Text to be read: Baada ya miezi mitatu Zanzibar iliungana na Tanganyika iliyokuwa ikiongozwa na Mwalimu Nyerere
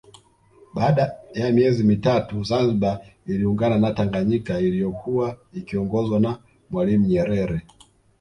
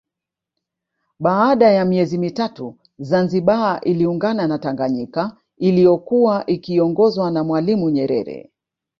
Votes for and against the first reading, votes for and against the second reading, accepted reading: 2, 0, 1, 2, first